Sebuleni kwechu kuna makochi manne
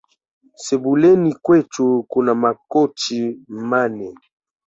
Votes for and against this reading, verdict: 1, 2, rejected